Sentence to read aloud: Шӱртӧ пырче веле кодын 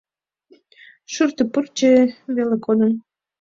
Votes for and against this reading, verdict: 2, 0, accepted